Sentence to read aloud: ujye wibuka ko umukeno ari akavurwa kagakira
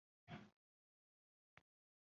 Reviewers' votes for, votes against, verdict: 0, 2, rejected